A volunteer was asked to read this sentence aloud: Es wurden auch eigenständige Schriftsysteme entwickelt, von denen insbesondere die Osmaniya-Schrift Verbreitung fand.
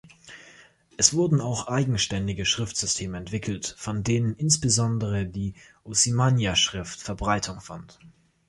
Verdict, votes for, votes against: rejected, 1, 3